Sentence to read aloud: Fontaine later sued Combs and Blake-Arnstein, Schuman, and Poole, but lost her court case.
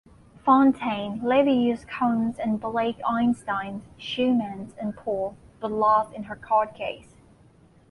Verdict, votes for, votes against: rejected, 0, 2